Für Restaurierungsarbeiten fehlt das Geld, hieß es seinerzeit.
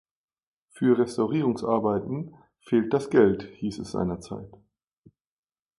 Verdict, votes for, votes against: accepted, 2, 0